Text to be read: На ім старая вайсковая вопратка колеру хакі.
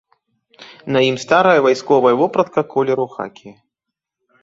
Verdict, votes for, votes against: rejected, 1, 2